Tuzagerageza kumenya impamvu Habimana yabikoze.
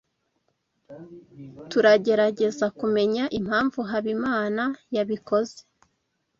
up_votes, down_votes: 2, 0